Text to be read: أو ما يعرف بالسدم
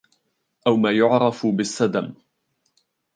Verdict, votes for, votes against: accepted, 2, 0